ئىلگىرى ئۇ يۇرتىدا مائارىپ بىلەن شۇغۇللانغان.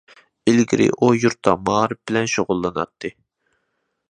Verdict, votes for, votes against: rejected, 0, 2